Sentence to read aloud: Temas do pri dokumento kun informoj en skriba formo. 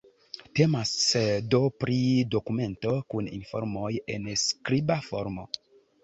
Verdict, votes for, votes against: accepted, 2, 0